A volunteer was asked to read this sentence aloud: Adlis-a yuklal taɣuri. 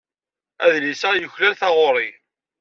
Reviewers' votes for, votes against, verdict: 2, 0, accepted